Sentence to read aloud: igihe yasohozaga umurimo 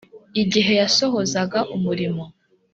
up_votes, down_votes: 2, 0